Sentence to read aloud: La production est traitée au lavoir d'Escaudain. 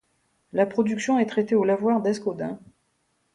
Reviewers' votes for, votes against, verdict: 2, 0, accepted